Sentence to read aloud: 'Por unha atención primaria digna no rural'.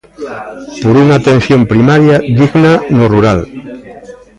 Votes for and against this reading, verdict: 1, 2, rejected